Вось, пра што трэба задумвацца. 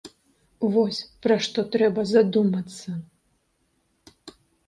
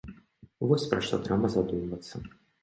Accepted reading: second